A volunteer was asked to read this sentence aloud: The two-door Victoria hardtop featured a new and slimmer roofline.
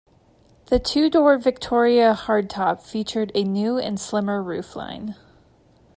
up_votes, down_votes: 2, 0